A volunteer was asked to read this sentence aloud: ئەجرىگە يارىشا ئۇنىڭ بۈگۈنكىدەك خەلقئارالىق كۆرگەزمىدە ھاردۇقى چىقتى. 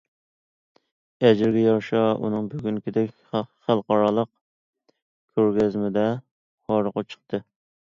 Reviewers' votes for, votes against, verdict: 1, 2, rejected